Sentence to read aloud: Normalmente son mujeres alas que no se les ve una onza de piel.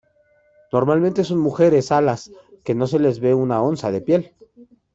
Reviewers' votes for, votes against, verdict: 0, 2, rejected